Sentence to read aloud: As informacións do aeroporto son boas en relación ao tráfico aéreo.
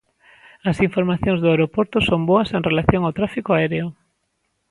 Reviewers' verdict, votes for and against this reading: accepted, 2, 0